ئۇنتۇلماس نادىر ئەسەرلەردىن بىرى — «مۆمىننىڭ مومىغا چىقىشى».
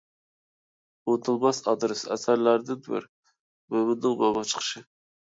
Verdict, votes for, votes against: rejected, 0, 3